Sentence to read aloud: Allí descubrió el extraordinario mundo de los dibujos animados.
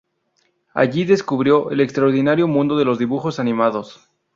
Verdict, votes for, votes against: accepted, 2, 0